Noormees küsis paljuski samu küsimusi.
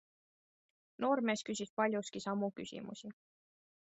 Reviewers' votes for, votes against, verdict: 2, 0, accepted